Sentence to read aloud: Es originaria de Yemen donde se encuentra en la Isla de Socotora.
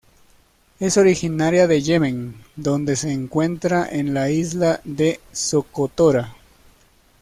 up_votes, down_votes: 2, 1